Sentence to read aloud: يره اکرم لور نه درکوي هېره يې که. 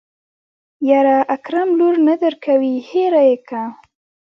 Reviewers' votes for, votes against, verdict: 1, 2, rejected